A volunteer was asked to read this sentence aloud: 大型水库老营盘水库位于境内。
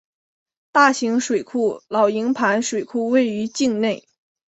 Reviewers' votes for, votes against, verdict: 2, 0, accepted